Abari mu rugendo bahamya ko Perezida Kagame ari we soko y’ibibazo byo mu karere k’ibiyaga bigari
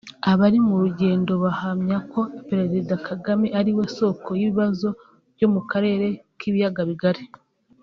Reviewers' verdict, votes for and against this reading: rejected, 1, 2